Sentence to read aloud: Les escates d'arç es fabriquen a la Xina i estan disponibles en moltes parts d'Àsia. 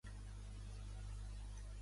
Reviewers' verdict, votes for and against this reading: rejected, 0, 2